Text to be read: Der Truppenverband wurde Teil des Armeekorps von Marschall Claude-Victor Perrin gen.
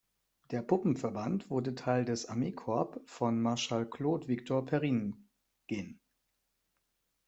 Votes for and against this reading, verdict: 1, 2, rejected